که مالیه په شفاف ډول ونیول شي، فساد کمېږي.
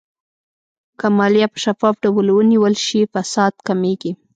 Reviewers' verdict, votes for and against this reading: accepted, 2, 0